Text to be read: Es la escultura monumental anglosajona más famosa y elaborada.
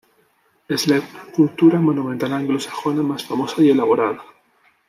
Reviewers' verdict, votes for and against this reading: rejected, 0, 3